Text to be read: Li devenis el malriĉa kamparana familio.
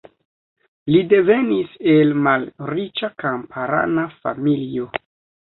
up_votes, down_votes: 2, 0